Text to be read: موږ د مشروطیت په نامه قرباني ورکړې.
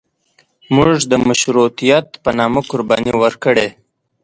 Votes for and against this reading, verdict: 2, 0, accepted